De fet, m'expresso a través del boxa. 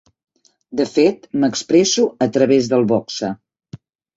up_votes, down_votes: 3, 0